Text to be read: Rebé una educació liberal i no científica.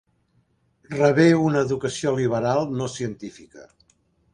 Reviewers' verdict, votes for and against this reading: rejected, 1, 2